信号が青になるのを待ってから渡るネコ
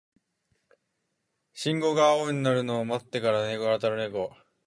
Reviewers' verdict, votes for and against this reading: rejected, 0, 2